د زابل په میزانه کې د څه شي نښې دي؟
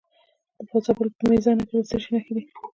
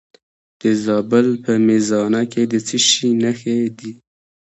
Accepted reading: second